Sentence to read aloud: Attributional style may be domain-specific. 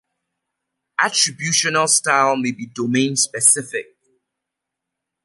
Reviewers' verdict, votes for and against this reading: accepted, 2, 1